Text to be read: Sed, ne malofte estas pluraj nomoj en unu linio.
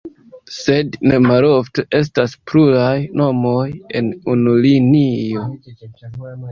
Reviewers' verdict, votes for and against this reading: accepted, 3, 2